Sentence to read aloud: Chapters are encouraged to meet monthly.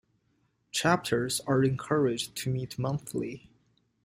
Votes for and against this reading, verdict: 2, 0, accepted